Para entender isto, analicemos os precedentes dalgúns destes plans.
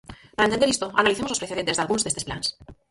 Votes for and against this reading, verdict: 0, 4, rejected